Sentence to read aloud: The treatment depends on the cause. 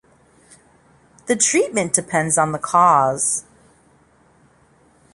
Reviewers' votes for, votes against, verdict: 0, 2, rejected